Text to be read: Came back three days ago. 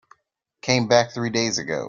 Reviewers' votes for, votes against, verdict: 3, 0, accepted